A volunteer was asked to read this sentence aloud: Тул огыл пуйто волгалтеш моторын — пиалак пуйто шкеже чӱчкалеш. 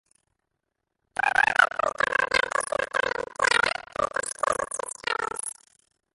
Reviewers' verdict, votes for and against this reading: rejected, 0, 2